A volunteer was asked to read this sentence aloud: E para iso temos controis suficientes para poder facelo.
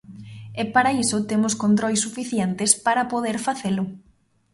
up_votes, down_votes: 2, 0